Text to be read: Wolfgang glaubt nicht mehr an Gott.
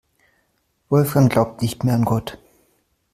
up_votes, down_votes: 2, 0